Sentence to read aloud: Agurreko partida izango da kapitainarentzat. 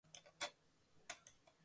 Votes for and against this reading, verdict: 0, 3, rejected